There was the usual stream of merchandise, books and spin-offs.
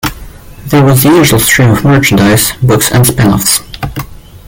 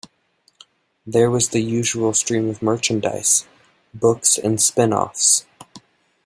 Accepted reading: second